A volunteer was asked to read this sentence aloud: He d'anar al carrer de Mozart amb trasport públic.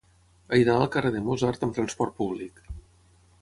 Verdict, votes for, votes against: rejected, 3, 3